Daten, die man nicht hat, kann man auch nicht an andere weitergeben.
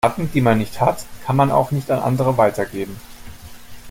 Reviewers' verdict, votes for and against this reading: rejected, 0, 2